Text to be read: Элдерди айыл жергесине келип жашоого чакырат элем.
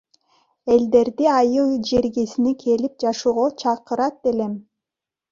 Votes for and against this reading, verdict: 2, 0, accepted